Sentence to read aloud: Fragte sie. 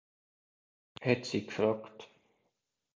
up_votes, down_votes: 0, 2